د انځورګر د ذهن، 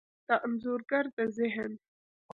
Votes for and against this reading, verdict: 1, 2, rejected